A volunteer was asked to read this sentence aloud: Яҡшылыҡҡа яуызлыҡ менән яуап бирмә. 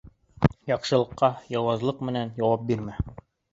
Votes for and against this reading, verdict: 2, 0, accepted